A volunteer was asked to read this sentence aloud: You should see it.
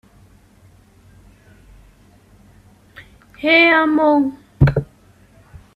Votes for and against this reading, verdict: 0, 3, rejected